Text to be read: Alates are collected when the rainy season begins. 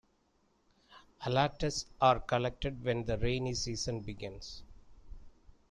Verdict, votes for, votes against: rejected, 0, 2